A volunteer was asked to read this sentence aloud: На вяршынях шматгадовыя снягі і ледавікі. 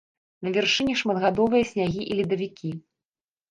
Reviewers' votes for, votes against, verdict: 2, 1, accepted